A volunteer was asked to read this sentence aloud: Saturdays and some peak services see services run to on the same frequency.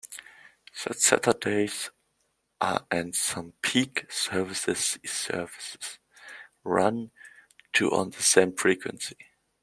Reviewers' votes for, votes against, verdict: 0, 2, rejected